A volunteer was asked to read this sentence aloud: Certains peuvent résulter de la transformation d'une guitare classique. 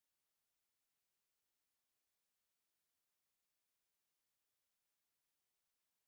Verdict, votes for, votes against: rejected, 0, 2